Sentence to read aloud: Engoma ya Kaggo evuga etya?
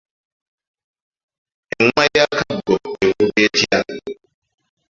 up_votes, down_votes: 3, 2